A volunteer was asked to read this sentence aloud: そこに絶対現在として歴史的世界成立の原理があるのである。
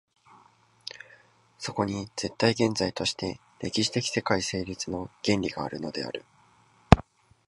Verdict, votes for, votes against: accepted, 2, 0